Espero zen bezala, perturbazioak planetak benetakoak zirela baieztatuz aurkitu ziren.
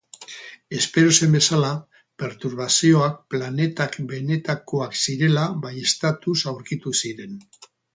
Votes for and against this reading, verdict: 2, 4, rejected